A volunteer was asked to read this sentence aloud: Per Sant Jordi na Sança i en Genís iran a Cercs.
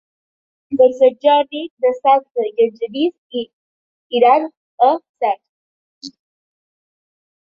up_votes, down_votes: 0, 2